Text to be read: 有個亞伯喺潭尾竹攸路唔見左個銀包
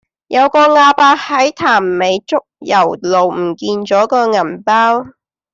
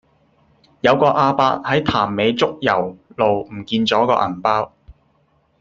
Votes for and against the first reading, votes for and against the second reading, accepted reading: 0, 2, 2, 1, second